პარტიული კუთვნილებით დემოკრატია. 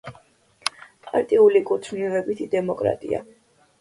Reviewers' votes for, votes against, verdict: 1, 2, rejected